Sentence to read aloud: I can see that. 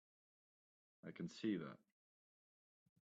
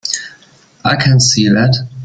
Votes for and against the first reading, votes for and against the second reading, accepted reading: 1, 2, 2, 0, second